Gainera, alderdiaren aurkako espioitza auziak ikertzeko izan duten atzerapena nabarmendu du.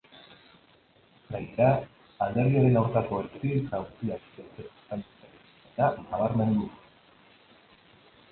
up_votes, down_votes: 1, 3